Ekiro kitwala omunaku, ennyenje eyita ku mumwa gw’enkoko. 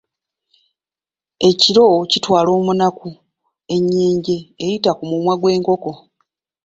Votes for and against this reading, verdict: 1, 2, rejected